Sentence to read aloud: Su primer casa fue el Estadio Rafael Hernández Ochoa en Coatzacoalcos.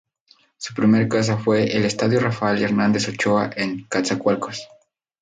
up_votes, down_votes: 2, 0